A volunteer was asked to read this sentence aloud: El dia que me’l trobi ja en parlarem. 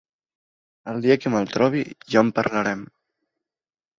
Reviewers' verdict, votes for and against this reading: accepted, 2, 0